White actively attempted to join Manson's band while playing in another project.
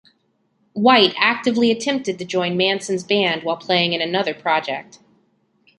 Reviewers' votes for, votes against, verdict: 2, 0, accepted